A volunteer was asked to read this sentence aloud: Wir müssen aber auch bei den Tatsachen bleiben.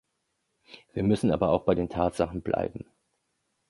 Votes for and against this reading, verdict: 2, 0, accepted